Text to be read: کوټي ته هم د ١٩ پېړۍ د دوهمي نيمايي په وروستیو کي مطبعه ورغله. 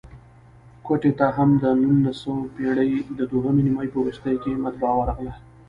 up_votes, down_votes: 0, 2